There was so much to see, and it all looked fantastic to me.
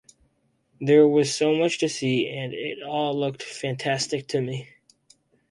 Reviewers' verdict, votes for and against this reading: accepted, 4, 0